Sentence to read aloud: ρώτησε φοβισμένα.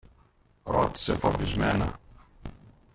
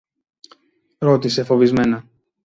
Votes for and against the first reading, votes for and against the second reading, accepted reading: 1, 2, 2, 0, second